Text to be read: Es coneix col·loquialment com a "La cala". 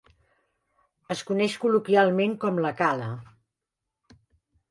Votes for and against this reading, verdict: 1, 2, rejected